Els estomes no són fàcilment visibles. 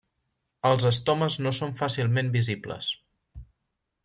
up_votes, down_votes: 3, 0